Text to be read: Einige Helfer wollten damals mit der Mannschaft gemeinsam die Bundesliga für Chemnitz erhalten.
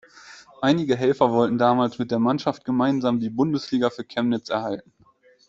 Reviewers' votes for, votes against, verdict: 2, 0, accepted